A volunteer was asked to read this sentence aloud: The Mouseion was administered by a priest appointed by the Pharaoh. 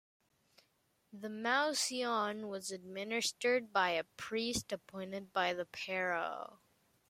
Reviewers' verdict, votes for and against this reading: rejected, 0, 2